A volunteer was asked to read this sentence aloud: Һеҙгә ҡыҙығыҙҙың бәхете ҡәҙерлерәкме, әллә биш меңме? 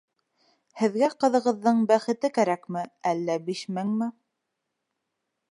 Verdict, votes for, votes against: rejected, 0, 2